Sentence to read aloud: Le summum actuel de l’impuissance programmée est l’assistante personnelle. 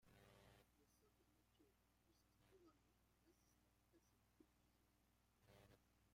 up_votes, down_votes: 0, 2